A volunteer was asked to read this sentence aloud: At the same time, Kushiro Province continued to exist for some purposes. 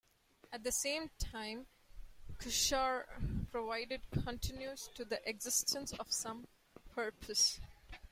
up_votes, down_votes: 0, 2